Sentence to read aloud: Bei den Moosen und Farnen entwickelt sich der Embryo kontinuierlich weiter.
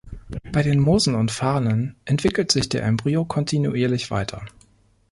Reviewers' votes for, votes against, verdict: 3, 0, accepted